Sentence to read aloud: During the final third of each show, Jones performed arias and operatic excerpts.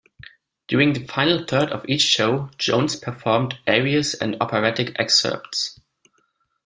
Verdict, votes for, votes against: accepted, 2, 0